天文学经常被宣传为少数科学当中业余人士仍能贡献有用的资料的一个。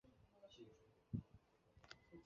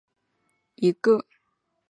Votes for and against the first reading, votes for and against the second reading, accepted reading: 0, 2, 2, 0, second